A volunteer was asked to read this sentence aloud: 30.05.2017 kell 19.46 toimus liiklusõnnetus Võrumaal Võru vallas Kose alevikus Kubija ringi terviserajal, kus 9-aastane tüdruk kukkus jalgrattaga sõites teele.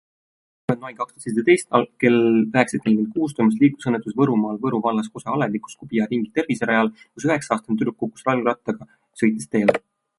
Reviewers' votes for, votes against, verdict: 0, 2, rejected